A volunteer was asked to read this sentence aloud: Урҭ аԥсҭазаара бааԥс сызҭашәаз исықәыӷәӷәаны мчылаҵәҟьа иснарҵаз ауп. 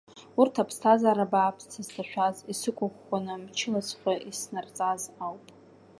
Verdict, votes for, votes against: accepted, 2, 1